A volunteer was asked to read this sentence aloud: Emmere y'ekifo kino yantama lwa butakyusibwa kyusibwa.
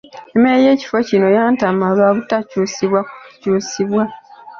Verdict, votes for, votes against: rejected, 2, 3